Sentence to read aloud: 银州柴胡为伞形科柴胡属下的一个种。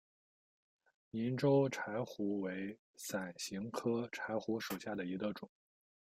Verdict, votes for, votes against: accepted, 2, 0